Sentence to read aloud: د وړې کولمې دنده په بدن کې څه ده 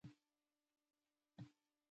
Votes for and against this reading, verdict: 0, 2, rejected